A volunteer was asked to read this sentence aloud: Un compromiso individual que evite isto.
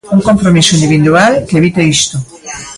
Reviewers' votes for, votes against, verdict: 0, 2, rejected